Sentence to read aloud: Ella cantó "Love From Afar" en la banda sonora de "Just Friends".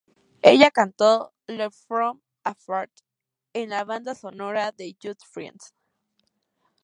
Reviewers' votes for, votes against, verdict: 4, 0, accepted